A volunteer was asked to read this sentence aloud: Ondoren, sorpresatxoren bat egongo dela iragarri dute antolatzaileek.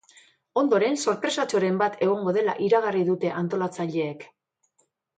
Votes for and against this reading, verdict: 2, 0, accepted